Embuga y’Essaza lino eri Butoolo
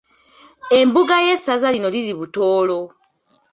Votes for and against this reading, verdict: 1, 2, rejected